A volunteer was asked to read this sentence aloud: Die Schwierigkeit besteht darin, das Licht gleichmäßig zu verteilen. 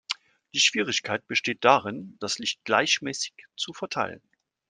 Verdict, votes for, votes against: accepted, 2, 0